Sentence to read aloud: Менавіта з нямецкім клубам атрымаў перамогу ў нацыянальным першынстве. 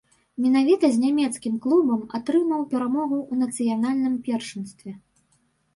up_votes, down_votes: 1, 2